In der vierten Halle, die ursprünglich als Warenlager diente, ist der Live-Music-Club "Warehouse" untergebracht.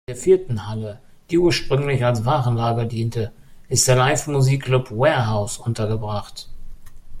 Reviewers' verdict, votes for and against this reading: rejected, 1, 2